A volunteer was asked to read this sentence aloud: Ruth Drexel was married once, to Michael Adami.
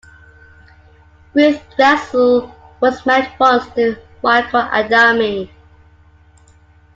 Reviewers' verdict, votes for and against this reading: accepted, 2, 1